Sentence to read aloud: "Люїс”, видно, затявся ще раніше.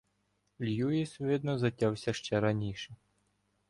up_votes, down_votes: 1, 2